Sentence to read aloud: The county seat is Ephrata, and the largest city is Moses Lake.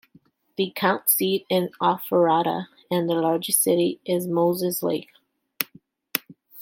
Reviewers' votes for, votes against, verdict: 1, 2, rejected